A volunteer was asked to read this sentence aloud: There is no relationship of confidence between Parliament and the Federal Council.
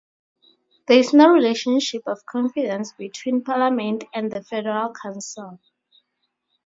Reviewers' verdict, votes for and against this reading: rejected, 0, 2